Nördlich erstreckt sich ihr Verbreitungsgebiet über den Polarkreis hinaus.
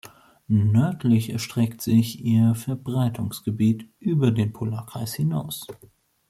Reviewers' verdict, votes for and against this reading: accepted, 2, 0